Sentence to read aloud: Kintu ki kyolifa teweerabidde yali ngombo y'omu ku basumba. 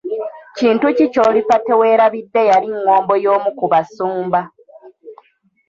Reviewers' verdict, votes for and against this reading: accepted, 2, 0